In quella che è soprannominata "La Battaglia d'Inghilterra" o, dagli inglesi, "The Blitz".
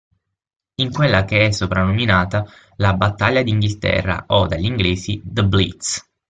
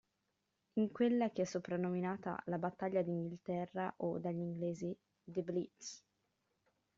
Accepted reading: first